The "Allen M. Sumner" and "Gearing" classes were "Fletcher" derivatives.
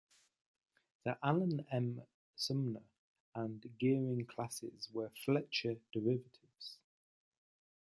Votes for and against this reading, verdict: 0, 2, rejected